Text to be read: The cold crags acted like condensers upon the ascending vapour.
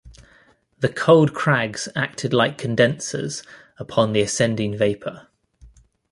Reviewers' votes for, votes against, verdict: 2, 0, accepted